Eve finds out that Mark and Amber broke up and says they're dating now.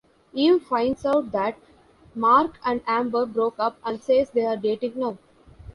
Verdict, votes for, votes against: accepted, 2, 0